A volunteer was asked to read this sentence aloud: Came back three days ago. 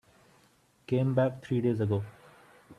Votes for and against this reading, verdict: 2, 1, accepted